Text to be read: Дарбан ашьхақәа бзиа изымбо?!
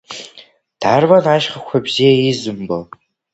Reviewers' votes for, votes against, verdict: 3, 0, accepted